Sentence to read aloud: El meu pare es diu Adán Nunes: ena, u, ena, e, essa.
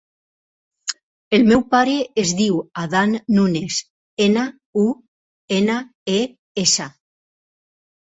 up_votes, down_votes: 10, 0